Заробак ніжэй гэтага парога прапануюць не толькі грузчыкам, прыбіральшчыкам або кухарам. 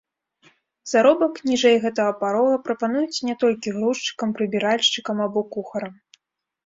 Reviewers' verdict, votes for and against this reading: accepted, 2, 0